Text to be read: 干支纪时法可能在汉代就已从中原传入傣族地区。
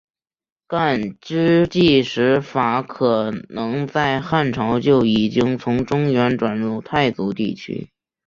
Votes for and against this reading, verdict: 1, 2, rejected